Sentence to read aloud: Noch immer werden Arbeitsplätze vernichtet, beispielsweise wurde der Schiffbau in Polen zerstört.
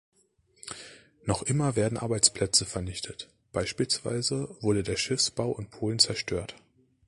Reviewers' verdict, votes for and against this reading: rejected, 1, 2